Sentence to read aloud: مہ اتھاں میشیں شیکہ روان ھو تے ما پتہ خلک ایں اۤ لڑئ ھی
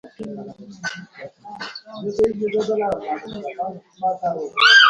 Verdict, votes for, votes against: rejected, 0, 2